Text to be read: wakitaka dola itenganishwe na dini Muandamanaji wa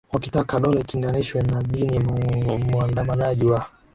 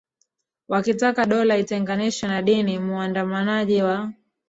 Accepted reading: second